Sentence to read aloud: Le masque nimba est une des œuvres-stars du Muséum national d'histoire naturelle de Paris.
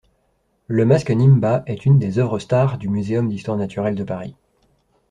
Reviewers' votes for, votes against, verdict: 0, 2, rejected